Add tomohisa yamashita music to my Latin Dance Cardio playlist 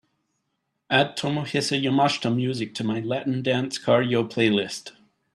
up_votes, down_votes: 2, 0